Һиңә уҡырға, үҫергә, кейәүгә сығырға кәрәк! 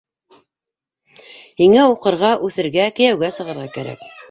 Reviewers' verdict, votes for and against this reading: rejected, 0, 2